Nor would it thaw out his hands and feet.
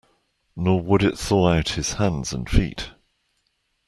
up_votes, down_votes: 2, 0